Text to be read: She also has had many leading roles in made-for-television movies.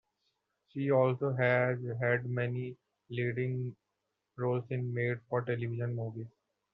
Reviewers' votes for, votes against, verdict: 2, 0, accepted